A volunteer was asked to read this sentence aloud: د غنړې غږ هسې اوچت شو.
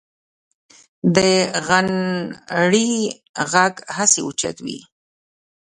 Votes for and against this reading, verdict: 2, 0, accepted